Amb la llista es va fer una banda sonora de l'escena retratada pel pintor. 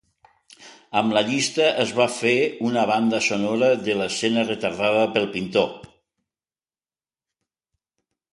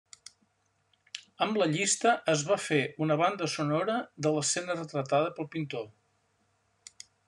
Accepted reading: second